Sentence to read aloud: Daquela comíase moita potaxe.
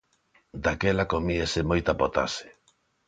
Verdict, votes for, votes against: accepted, 2, 0